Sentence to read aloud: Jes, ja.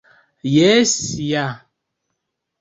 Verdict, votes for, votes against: rejected, 0, 2